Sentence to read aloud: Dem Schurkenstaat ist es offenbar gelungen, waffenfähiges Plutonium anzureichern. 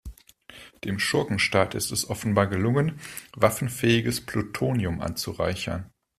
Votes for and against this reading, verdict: 2, 0, accepted